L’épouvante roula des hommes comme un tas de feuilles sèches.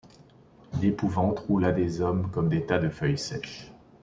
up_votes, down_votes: 0, 2